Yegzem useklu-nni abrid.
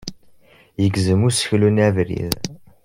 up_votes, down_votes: 2, 0